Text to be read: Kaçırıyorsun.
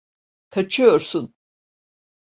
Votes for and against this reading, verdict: 1, 2, rejected